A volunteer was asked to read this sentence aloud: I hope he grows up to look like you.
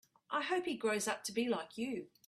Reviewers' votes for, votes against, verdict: 1, 2, rejected